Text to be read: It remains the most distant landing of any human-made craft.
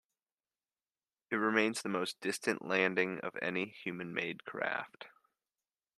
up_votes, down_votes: 2, 0